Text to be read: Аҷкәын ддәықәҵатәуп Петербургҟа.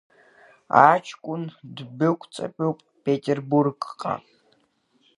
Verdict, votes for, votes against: accepted, 2, 0